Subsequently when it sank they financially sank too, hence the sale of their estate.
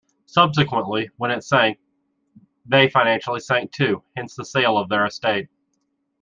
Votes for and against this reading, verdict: 2, 0, accepted